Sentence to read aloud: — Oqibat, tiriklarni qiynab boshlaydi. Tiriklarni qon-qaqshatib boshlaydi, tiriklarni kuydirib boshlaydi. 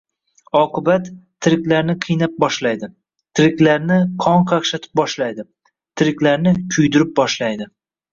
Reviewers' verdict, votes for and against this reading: accepted, 2, 0